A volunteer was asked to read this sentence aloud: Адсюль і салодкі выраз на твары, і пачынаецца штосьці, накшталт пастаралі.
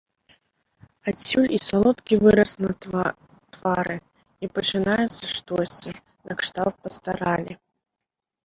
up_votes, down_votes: 0, 2